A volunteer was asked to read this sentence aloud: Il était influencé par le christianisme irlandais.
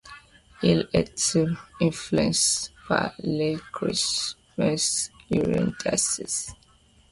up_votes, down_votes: 2, 1